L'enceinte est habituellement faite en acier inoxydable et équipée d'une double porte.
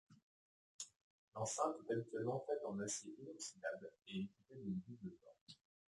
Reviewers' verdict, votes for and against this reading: rejected, 1, 2